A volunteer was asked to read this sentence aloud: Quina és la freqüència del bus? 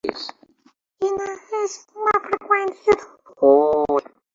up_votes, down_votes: 0, 2